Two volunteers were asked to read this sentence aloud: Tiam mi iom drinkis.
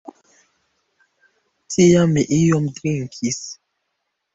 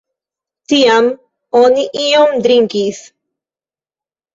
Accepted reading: first